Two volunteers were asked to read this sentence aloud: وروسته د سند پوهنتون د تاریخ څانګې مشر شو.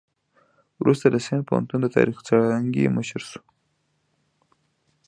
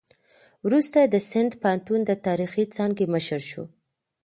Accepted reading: first